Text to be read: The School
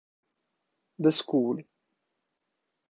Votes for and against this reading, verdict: 2, 0, accepted